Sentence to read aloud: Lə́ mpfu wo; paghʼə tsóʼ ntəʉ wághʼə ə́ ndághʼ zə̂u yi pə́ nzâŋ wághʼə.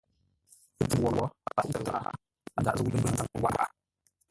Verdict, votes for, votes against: rejected, 0, 2